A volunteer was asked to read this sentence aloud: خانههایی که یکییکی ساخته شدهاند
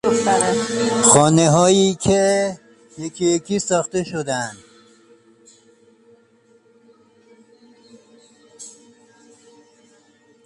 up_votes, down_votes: 1, 2